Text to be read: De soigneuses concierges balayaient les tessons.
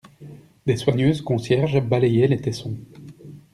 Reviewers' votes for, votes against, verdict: 1, 2, rejected